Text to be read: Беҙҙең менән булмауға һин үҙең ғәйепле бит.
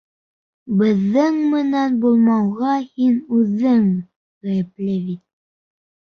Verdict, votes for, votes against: rejected, 0, 2